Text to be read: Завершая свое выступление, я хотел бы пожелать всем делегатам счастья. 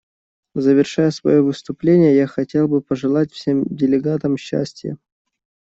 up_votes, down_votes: 2, 0